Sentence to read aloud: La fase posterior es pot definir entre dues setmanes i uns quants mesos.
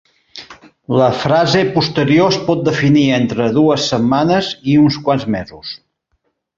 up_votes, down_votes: 0, 2